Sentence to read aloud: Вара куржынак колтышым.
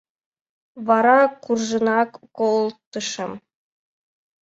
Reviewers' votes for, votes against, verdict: 2, 0, accepted